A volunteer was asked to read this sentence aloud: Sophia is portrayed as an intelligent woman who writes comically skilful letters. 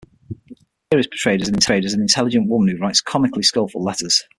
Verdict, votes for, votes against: rejected, 0, 6